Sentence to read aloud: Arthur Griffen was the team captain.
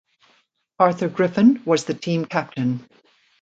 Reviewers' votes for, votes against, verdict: 2, 0, accepted